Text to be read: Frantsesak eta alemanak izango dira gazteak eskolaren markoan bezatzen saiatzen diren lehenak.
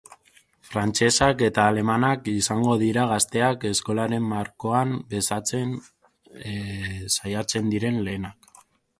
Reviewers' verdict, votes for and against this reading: accepted, 4, 0